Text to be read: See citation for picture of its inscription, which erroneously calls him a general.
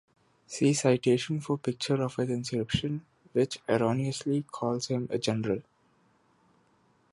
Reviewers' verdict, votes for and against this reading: accepted, 2, 0